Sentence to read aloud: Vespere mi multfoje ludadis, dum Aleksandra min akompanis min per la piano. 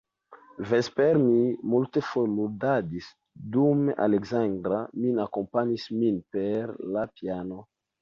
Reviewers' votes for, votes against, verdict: 1, 2, rejected